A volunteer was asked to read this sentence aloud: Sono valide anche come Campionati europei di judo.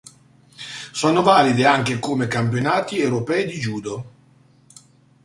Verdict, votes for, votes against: accepted, 2, 0